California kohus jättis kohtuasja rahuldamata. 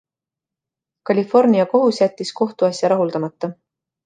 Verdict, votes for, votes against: accepted, 2, 0